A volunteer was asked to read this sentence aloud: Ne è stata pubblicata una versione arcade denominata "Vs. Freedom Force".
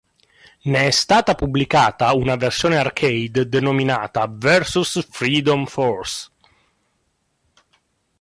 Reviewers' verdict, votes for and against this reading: rejected, 1, 2